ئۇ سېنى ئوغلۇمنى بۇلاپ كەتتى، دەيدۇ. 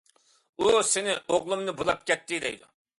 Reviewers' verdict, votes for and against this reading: accepted, 2, 0